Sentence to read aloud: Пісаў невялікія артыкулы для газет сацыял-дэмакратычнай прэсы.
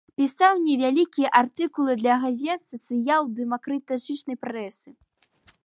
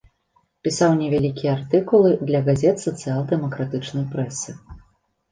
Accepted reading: second